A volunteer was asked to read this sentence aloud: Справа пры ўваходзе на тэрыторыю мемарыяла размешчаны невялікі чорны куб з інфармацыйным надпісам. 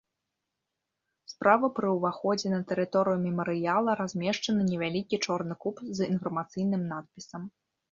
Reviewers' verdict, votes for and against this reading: accepted, 3, 0